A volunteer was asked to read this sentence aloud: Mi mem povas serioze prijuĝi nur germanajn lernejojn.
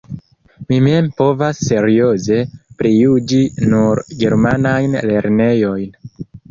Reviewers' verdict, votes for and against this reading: accepted, 2, 0